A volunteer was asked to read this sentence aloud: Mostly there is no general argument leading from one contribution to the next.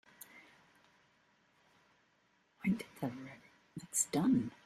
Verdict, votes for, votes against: rejected, 0, 2